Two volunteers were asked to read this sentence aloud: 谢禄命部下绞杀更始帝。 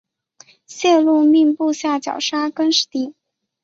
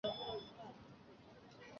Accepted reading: first